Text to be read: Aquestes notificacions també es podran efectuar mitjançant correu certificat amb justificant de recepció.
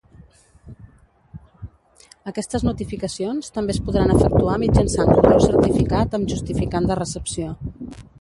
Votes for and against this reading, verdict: 0, 2, rejected